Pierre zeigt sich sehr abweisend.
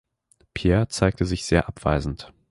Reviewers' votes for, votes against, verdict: 0, 2, rejected